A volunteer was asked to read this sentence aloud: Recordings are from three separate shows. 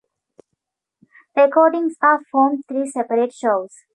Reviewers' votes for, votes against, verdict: 3, 0, accepted